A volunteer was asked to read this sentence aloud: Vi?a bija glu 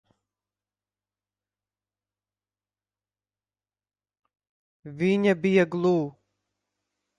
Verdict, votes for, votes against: rejected, 0, 2